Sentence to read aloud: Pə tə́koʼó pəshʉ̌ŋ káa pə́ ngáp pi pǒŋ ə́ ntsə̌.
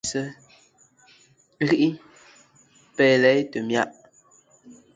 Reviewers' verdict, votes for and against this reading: rejected, 0, 2